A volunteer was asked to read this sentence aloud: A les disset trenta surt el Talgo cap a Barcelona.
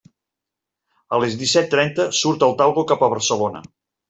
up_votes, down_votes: 3, 0